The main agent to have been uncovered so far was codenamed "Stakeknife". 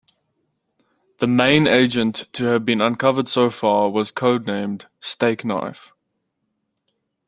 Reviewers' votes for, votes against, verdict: 2, 0, accepted